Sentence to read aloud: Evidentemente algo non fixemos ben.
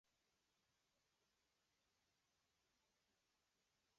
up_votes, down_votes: 0, 2